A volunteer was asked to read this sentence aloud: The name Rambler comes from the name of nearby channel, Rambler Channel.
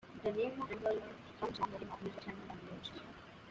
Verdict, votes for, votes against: rejected, 0, 2